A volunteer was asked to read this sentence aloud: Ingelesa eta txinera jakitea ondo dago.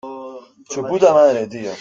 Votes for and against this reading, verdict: 0, 2, rejected